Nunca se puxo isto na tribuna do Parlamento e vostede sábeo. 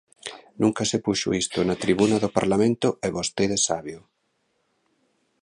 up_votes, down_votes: 2, 0